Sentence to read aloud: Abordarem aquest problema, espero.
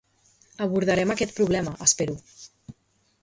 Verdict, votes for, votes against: accepted, 2, 0